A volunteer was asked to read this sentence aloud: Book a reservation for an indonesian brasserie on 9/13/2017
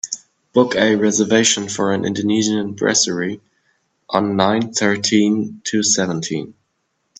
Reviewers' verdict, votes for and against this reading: rejected, 0, 2